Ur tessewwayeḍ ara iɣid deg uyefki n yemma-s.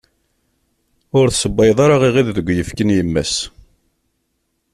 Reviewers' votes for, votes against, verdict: 2, 0, accepted